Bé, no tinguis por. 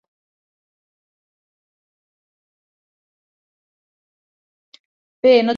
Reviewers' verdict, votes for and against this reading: rejected, 0, 2